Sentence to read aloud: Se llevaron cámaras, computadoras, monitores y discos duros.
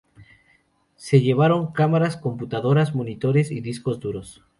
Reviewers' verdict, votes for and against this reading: accepted, 2, 0